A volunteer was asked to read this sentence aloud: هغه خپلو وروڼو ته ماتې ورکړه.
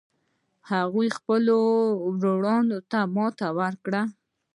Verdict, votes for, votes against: accepted, 2, 0